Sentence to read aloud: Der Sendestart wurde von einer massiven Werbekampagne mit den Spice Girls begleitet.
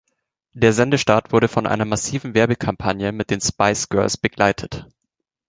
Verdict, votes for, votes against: accepted, 2, 0